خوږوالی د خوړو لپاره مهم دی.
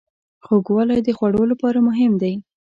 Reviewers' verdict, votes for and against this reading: accepted, 2, 0